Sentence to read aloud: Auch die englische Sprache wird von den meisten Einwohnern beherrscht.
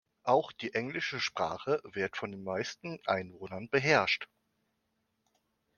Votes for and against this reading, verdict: 2, 0, accepted